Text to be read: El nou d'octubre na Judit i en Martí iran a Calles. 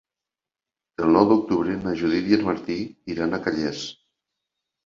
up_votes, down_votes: 2, 1